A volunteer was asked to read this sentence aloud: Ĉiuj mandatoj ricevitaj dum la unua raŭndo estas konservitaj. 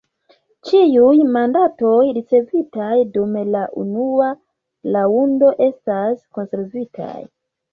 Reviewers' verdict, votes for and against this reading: rejected, 0, 2